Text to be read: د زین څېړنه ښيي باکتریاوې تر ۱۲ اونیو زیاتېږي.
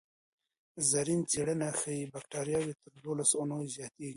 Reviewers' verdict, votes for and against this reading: rejected, 0, 2